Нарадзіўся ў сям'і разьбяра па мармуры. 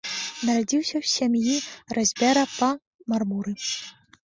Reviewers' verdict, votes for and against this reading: rejected, 1, 2